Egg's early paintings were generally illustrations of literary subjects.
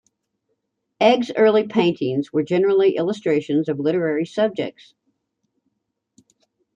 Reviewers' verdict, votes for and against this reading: accepted, 2, 0